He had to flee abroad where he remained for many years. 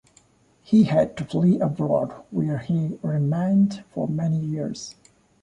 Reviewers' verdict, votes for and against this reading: accepted, 2, 0